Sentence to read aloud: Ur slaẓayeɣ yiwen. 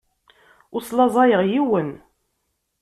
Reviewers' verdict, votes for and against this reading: accepted, 2, 0